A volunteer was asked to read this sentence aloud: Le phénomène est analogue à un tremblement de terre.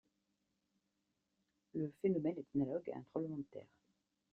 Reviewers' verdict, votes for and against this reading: rejected, 0, 2